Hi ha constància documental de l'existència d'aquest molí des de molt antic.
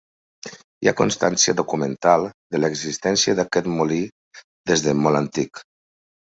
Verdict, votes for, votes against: accepted, 3, 1